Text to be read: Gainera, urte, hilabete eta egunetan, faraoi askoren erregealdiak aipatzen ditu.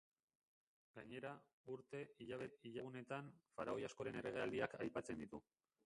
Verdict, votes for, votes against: rejected, 1, 2